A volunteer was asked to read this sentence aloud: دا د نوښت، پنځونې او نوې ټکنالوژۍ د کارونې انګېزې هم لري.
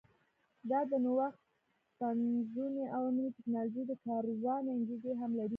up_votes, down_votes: 0, 2